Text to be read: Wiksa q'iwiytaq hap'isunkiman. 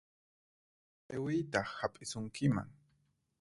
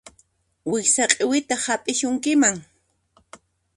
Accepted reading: second